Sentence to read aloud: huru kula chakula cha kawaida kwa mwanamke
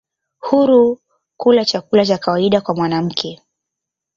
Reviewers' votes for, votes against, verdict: 1, 2, rejected